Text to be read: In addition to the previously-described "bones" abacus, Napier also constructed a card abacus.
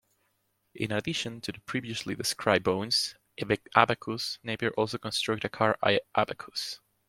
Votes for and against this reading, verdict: 0, 2, rejected